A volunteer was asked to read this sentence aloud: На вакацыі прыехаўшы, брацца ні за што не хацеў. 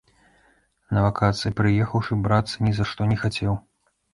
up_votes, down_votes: 2, 0